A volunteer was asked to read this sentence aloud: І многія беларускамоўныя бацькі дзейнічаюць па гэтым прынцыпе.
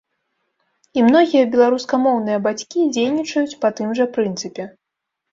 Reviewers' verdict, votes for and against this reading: rejected, 1, 2